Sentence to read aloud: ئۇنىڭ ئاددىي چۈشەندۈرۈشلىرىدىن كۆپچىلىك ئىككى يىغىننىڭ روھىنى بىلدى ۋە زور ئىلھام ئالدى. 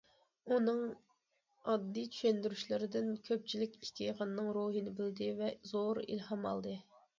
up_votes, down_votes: 2, 0